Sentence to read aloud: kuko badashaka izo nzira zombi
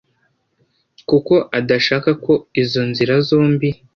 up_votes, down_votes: 1, 2